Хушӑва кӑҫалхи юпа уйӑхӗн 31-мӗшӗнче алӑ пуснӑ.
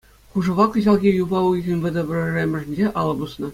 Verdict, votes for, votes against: rejected, 0, 2